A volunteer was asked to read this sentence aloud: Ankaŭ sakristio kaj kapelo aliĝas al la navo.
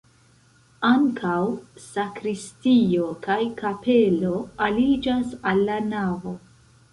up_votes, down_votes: 2, 0